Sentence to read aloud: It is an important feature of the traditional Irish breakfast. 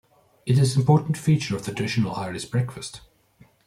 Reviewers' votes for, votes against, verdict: 1, 2, rejected